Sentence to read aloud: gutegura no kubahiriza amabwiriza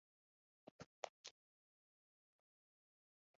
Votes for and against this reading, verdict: 2, 1, accepted